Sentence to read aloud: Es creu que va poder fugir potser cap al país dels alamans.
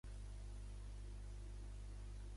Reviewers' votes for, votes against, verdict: 0, 2, rejected